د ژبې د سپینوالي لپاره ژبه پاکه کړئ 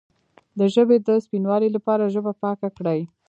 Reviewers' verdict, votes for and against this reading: accepted, 2, 0